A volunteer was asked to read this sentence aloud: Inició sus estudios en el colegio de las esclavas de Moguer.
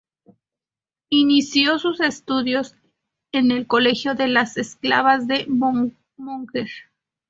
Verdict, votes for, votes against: accepted, 2, 0